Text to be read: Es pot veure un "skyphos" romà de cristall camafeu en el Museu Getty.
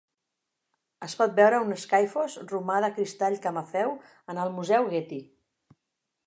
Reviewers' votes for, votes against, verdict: 8, 0, accepted